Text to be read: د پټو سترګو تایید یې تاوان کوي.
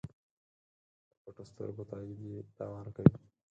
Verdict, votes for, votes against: rejected, 2, 4